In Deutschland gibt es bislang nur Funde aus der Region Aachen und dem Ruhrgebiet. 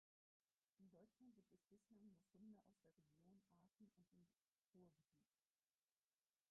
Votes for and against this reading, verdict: 0, 4, rejected